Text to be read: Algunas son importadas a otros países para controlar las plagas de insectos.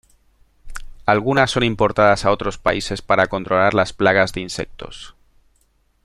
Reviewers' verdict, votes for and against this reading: accepted, 2, 0